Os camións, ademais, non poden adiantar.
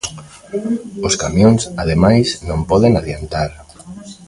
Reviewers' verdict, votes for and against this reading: rejected, 1, 2